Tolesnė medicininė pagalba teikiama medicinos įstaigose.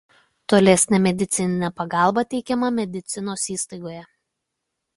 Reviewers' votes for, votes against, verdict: 0, 2, rejected